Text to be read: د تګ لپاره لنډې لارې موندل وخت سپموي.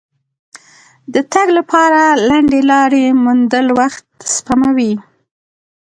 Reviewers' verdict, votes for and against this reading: rejected, 1, 2